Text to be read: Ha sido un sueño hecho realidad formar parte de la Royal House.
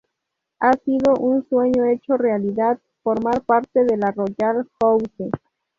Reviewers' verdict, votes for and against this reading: rejected, 0, 2